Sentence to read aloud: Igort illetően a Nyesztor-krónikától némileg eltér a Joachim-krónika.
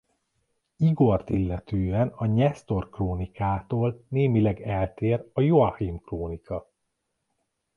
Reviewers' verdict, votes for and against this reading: accepted, 2, 0